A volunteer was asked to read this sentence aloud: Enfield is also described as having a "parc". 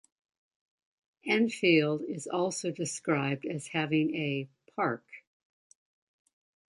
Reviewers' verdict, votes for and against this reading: accepted, 2, 0